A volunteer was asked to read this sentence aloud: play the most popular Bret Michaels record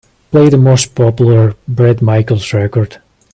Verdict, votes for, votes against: accepted, 2, 0